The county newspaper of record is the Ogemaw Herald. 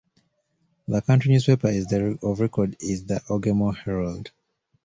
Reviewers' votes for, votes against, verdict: 0, 2, rejected